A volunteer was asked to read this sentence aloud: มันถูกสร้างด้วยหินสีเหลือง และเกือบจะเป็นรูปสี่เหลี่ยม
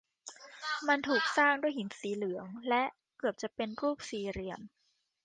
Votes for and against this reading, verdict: 2, 1, accepted